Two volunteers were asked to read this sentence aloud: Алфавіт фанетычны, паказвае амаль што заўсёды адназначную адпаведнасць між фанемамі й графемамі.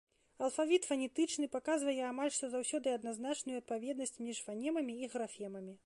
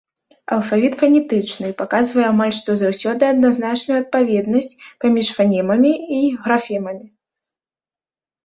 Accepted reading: first